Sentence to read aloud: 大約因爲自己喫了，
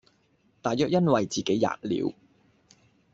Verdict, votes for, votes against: rejected, 1, 2